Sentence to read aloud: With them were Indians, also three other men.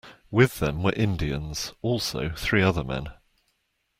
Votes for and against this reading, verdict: 2, 0, accepted